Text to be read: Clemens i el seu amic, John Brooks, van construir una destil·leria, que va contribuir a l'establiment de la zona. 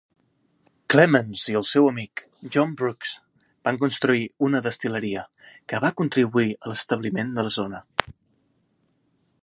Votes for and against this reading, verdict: 2, 0, accepted